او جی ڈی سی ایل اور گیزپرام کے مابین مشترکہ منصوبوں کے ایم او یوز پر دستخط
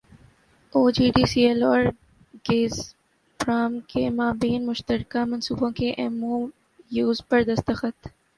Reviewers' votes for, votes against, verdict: 2, 0, accepted